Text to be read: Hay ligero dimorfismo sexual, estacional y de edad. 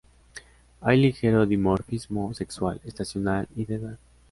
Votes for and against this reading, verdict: 2, 0, accepted